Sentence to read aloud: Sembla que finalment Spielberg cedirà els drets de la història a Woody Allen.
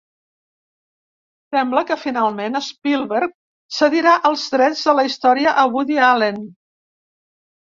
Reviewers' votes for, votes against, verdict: 4, 0, accepted